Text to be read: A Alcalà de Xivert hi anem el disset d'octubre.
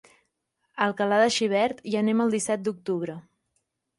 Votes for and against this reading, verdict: 2, 0, accepted